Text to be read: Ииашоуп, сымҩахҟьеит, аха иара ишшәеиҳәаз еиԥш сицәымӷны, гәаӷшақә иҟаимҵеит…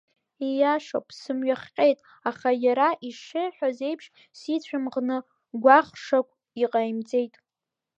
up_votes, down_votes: 1, 2